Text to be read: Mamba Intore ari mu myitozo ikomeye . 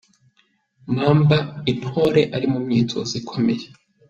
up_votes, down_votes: 2, 0